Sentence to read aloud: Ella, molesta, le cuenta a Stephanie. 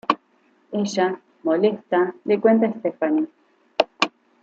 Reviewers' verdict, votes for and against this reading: rejected, 0, 2